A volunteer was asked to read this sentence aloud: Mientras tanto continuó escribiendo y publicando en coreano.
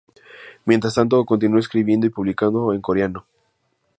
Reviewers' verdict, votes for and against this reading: accepted, 4, 0